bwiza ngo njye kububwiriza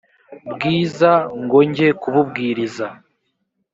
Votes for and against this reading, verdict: 2, 0, accepted